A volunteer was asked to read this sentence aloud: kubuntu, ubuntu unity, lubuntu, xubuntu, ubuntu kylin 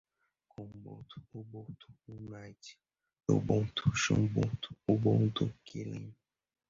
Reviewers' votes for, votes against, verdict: 1, 2, rejected